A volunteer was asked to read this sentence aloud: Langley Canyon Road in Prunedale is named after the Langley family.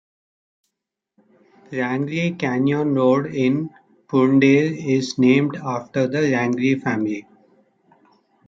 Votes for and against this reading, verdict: 0, 2, rejected